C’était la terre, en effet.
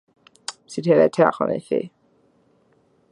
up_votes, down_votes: 0, 2